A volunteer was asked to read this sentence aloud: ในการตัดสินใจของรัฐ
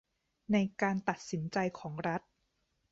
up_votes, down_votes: 2, 0